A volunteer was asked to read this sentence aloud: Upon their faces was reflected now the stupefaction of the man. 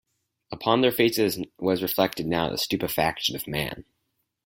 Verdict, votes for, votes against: accepted, 4, 0